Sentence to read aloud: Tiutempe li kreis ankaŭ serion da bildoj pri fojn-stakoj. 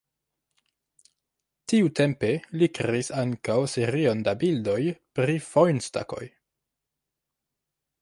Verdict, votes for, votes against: accepted, 2, 0